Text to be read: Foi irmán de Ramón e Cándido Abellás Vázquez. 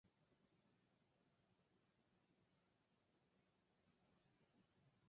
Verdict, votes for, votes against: rejected, 0, 4